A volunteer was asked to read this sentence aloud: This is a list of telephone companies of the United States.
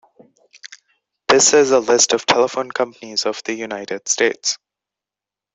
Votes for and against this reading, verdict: 2, 0, accepted